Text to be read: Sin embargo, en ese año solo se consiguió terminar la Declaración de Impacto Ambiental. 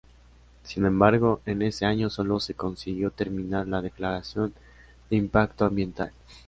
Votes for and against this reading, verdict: 2, 0, accepted